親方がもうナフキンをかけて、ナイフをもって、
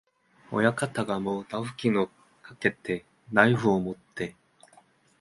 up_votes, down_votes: 2, 0